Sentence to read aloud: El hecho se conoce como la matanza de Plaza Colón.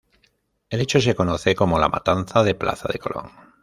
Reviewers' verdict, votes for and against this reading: rejected, 1, 2